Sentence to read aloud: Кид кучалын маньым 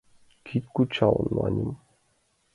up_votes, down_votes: 2, 0